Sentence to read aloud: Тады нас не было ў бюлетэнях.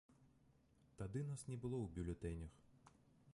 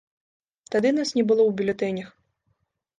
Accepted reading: second